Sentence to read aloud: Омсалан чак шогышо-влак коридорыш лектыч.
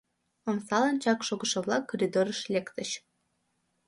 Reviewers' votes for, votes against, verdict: 2, 0, accepted